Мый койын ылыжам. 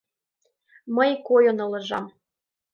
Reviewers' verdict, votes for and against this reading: accepted, 2, 0